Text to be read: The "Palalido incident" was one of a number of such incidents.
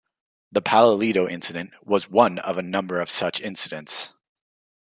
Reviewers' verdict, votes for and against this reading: accepted, 2, 1